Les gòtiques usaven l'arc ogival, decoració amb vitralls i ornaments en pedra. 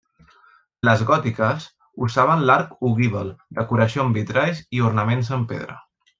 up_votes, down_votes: 2, 0